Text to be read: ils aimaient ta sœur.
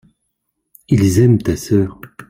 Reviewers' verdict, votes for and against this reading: rejected, 0, 2